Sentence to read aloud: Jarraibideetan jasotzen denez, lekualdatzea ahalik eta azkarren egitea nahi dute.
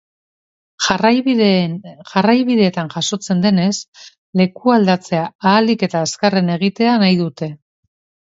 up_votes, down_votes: 2, 3